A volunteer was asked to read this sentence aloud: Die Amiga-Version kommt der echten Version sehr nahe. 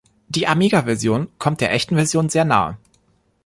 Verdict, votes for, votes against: accepted, 3, 0